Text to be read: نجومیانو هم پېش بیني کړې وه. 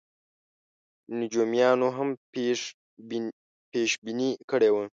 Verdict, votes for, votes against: rejected, 1, 2